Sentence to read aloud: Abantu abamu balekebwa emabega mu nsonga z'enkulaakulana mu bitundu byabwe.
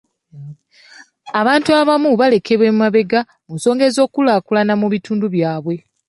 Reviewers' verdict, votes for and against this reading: accepted, 2, 0